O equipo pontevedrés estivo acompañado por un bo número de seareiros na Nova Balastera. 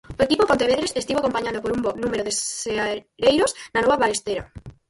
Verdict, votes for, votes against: rejected, 0, 4